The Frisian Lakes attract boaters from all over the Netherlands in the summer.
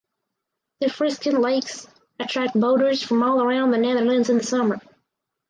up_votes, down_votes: 2, 4